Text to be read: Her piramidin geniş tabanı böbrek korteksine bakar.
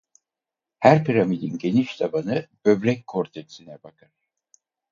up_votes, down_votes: 0, 4